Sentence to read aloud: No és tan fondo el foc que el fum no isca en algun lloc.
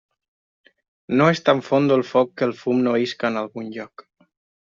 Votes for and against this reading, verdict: 0, 2, rejected